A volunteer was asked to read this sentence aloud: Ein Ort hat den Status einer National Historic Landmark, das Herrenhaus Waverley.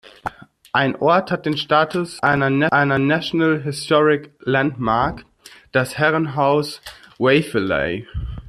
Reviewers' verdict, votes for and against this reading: rejected, 0, 2